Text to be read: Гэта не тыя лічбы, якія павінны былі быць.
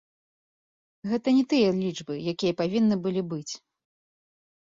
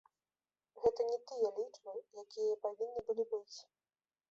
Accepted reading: first